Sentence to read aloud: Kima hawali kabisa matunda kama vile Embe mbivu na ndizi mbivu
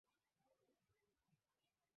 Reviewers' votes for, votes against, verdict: 0, 2, rejected